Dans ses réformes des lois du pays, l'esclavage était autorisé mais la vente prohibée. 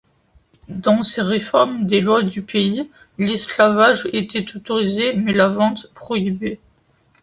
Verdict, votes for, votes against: accepted, 2, 0